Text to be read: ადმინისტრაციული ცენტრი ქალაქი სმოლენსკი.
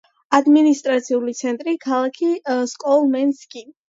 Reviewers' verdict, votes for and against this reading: accepted, 2, 1